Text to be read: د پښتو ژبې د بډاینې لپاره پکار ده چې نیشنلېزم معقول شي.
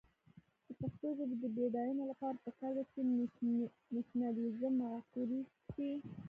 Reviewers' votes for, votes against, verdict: 1, 2, rejected